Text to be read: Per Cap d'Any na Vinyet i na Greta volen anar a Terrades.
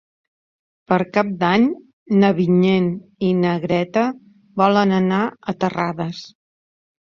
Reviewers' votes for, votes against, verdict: 1, 2, rejected